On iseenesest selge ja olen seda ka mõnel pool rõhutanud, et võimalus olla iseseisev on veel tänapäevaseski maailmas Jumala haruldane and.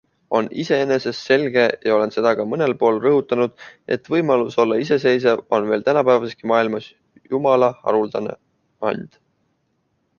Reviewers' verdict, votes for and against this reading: accepted, 2, 0